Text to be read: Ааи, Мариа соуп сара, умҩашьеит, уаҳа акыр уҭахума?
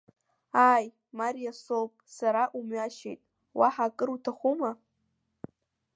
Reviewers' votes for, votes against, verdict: 2, 0, accepted